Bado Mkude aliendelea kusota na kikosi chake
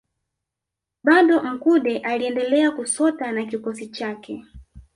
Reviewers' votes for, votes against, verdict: 1, 2, rejected